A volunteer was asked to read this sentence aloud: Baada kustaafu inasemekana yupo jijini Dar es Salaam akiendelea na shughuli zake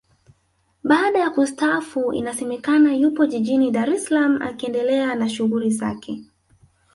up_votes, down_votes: 2, 0